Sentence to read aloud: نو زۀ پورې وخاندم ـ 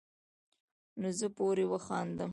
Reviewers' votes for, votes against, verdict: 2, 0, accepted